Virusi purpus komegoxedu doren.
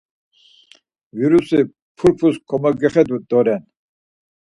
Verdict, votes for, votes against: rejected, 2, 4